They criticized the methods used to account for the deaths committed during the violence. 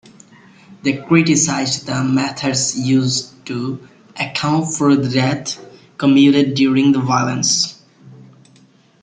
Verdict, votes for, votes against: rejected, 0, 2